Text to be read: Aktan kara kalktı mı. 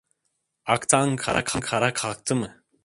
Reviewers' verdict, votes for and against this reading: rejected, 0, 2